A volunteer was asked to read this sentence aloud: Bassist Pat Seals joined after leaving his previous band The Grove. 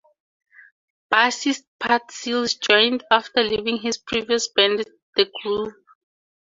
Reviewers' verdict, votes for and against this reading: accepted, 2, 0